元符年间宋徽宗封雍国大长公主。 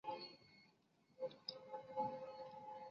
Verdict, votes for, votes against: rejected, 0, 3